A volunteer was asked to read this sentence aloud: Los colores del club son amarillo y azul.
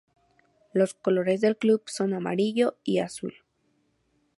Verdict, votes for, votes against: accepted, 2, 0